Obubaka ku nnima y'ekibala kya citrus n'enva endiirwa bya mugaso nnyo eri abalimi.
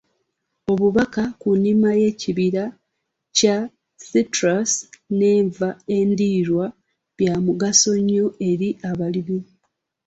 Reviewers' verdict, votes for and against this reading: rejected, 0, 2